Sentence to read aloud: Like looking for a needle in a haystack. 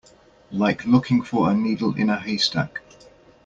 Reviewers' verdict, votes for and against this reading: accepted, 2, 0